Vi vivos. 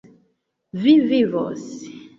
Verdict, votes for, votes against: accepted, 2, 1